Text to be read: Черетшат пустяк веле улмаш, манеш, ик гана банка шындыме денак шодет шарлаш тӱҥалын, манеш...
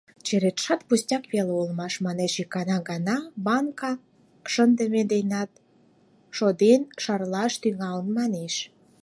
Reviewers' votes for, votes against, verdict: 0, 4, rejected